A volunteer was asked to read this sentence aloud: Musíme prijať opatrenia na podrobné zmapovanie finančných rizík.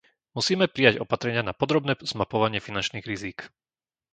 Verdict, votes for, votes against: rejected, 1, 2